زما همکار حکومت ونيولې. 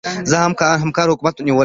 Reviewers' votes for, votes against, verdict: 1, 2, rejected